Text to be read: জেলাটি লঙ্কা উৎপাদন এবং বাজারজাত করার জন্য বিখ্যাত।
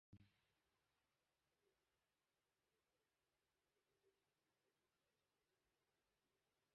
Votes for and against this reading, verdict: 0, 2, rejected